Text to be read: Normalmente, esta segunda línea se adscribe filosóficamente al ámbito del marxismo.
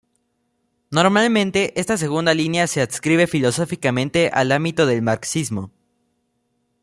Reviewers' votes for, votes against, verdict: 2, 0, accepted